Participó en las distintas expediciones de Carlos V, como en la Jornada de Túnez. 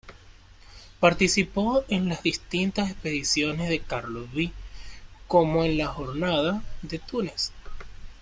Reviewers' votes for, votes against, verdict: 0, 2, rejected